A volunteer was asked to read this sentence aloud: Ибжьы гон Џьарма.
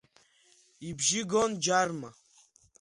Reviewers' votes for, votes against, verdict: 2, 1, accepted